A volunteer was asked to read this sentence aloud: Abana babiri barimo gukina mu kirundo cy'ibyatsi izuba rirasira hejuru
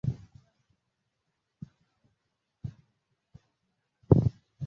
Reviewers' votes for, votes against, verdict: 0, 2, rejected